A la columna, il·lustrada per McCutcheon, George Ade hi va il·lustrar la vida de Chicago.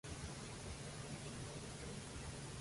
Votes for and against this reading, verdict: 0, 2, rejected